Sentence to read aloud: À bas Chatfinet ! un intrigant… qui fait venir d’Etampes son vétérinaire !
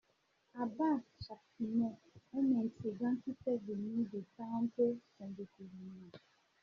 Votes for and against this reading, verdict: 1, 2, rejected